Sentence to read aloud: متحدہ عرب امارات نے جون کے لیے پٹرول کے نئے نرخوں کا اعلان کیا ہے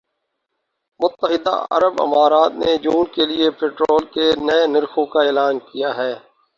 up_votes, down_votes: 2, 2